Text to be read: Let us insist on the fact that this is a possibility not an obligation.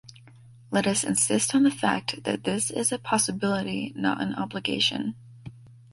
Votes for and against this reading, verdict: 2, 1, accepted